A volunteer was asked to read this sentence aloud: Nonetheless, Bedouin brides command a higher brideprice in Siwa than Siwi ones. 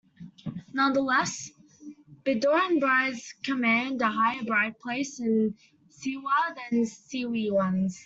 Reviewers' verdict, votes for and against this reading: accepted, 2, 1